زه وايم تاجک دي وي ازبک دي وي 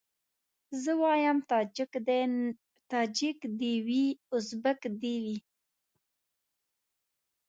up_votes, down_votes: 0, 2